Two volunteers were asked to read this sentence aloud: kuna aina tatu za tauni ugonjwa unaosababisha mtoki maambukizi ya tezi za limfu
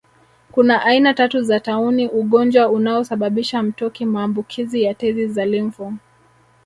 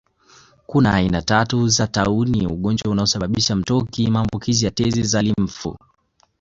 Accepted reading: second